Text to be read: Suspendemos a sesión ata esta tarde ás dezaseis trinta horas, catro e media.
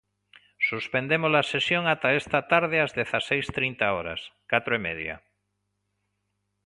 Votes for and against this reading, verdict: 2, 0, accepted